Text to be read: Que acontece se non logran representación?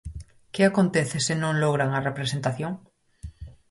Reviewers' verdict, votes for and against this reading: rejected, 0, 4